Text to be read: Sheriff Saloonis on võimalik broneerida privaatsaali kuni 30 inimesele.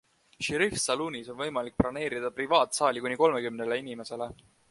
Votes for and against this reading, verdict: 0, 2, rejected